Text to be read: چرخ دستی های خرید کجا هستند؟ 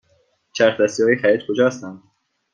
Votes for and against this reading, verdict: 2, 0, accepted